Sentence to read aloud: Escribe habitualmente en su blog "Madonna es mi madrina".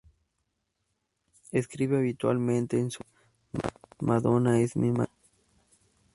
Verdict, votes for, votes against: rejected, 0, 2